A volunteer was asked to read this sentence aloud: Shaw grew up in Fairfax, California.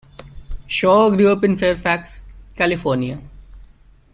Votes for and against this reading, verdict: 2, 0, accepted